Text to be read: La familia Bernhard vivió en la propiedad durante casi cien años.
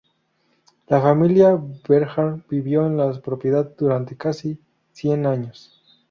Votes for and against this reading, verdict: 0, 2, rejected